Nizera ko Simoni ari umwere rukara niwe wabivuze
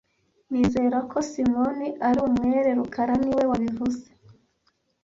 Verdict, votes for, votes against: accepted, 2, 0